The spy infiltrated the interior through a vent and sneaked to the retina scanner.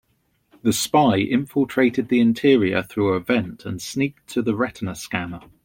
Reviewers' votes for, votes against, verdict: 2, 0, accepted